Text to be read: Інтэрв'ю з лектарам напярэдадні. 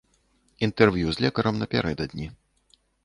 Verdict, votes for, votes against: rejected, 1, 2